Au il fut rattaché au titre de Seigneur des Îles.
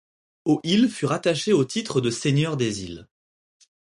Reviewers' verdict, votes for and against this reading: accepted, 4, 0